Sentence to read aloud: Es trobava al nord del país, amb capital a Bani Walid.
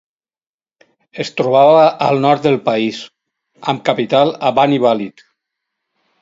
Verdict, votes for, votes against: accepted, 4, 0